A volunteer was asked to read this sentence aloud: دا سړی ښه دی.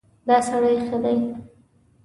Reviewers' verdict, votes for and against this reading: accepted, 2, 0